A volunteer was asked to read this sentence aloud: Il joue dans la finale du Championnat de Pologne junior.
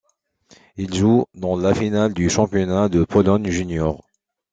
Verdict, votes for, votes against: accepted, 2, 0